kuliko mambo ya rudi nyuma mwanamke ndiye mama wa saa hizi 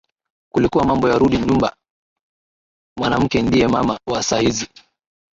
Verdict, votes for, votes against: rejected, 0, 4